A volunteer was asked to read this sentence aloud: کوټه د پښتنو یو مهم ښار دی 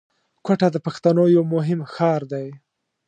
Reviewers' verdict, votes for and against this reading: accepted, 2, 0